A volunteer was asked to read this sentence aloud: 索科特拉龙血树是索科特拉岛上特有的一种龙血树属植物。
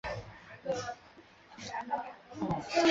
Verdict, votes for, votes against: rejected, 0, 2